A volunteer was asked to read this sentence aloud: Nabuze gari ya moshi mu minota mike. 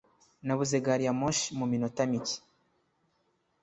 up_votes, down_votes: 2, 0